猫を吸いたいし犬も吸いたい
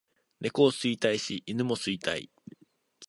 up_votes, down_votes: 2, 0